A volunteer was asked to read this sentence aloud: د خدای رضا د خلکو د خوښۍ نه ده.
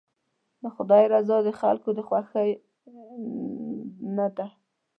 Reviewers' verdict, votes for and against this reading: rejected, 0, 2